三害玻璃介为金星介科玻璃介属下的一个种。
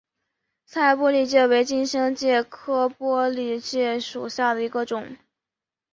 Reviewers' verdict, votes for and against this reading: rejected, 2, 6